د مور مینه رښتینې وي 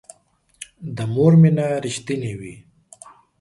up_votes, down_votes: 4, 0